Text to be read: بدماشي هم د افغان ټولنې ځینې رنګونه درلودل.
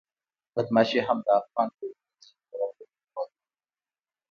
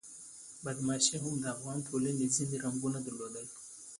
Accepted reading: second